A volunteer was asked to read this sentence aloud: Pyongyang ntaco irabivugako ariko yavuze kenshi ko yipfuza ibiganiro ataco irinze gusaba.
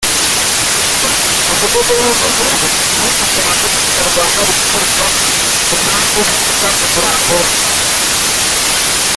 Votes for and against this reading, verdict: 0, 2, rejected